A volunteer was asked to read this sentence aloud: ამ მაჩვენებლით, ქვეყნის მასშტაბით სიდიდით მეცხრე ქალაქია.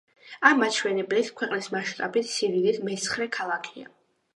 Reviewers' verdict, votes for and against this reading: accepted, 2, 0